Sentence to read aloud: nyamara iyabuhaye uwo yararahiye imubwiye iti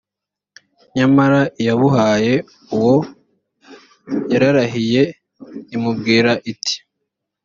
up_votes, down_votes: 1, 2